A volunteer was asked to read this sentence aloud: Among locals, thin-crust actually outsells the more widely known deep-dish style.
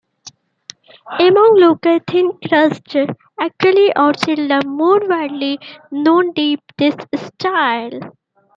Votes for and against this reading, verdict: 1, 2, rejected